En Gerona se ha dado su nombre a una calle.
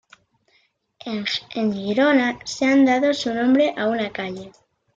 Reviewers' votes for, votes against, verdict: 1, 2, rejected